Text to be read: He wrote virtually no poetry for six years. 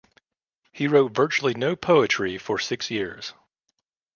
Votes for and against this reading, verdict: 2, 0, accepted